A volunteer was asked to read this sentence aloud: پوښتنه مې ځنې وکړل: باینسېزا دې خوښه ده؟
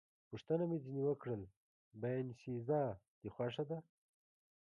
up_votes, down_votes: 0, 2